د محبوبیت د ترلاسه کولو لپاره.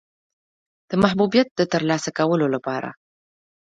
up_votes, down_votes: 2, 1